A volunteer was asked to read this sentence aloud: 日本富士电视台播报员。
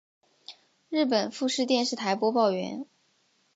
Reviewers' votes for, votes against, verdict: 3, 0, accepted